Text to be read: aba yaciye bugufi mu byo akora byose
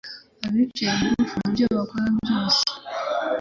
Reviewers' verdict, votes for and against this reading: rejected, 0, 2